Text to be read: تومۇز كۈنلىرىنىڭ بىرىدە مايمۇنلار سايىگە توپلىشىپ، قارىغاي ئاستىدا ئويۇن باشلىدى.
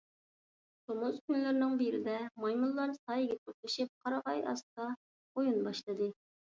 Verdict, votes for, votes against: rejected, 1, 2